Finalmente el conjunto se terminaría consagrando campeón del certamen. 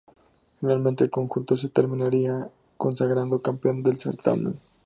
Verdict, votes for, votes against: accepted, 2, 0